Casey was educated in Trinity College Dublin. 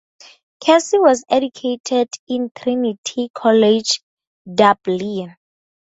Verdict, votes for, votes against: accepted, 2, 0